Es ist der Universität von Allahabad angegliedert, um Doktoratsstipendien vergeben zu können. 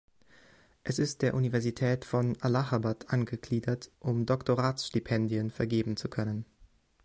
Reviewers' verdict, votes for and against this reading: accepted, 2, 0